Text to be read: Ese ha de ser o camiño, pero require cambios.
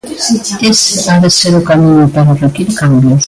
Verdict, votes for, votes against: rejected, 0, 2